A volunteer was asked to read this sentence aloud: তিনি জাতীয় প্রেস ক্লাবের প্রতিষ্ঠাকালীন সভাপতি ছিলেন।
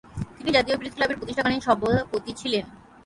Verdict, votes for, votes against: rejected, 0, 9